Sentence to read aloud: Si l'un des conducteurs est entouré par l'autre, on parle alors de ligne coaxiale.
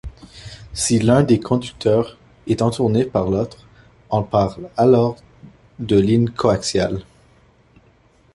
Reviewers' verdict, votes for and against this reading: rejected, 1, 2